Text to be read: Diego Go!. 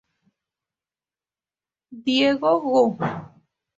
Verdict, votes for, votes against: rejected, 0, 2